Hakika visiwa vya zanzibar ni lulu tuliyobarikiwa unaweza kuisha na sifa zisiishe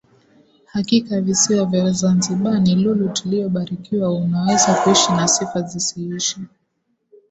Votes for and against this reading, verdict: 2, 0, accepted